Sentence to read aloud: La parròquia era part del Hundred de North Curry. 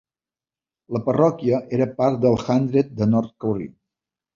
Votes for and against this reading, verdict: 2, 0, accepted